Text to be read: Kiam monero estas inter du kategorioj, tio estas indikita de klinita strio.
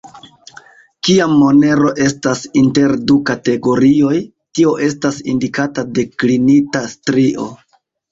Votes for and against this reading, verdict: 0, 2, rejected